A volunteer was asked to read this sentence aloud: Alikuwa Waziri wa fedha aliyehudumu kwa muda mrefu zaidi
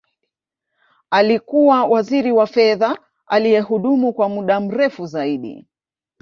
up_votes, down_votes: 1, 2